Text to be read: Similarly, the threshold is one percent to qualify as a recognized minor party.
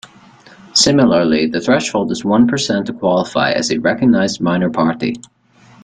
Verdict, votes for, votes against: accepted, 3, 0